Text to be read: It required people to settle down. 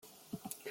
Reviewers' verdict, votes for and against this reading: rejected, 0, 2